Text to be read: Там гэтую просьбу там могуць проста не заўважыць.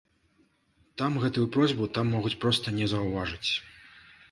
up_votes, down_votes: 2, 0